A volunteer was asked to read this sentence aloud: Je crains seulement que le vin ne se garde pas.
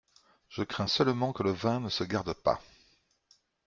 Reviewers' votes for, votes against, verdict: 1, 2, rejected